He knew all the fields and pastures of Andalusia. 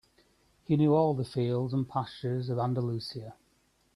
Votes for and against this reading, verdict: 3, 1, accepted